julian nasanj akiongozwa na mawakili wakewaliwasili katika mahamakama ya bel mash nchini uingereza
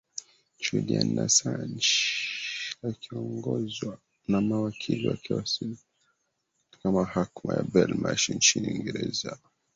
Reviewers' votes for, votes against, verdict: 2, 1, accepted